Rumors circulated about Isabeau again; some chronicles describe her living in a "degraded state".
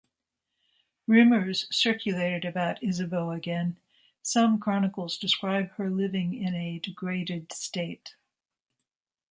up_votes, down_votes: 2, 0